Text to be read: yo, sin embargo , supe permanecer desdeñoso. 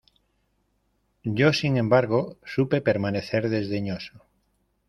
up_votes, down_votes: 2, 0